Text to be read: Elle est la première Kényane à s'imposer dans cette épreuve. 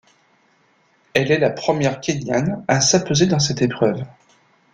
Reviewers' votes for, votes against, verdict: 1, 2, rejected